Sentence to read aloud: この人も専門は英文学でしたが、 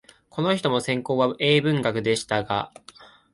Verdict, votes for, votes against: accepted, 3, 0